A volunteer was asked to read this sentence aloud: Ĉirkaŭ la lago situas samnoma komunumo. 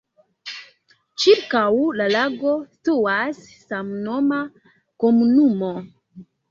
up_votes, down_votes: 0, 2